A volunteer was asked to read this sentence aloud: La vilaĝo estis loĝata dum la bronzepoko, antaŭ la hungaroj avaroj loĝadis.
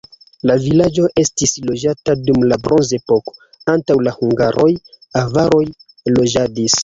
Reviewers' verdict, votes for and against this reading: accepted, 2, 1